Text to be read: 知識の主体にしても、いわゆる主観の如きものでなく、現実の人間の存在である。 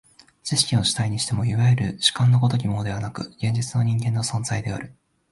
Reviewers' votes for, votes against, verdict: 1, 2, rejected